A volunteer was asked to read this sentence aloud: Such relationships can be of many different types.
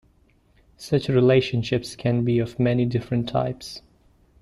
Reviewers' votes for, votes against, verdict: 2, 0, accepted